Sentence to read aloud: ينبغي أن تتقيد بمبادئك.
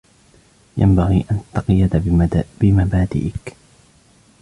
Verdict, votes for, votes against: rejected, 0, 2